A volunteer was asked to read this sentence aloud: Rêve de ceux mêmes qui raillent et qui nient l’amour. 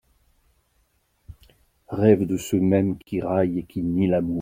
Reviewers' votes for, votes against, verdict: 0, 2, rejected